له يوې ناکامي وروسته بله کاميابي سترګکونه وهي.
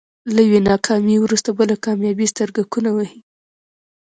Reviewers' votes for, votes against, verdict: 0, 2, rejected